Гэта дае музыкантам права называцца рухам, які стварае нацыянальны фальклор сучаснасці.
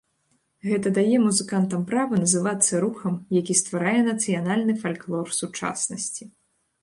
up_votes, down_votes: 2, 0